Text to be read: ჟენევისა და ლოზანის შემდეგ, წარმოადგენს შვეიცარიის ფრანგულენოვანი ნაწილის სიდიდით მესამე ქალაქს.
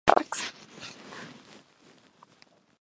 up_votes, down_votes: 0, 2